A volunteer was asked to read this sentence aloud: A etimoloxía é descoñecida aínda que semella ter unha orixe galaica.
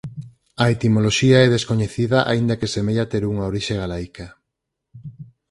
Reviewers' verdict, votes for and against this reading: accepted, 4, 0